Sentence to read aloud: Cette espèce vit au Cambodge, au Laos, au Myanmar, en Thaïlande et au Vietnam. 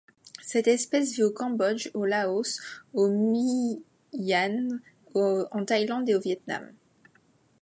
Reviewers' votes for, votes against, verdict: 0, 2, rejected